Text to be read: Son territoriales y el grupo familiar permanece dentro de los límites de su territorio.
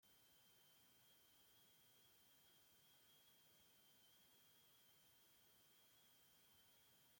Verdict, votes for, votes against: rejected, 0, 2